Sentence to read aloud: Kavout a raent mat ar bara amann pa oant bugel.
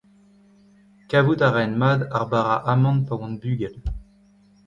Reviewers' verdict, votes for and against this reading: accepted, 3, 1